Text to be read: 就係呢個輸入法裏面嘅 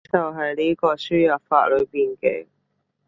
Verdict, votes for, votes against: accepted, 2, 0